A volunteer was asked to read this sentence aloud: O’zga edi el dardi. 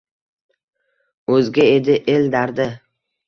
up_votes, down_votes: 2, 0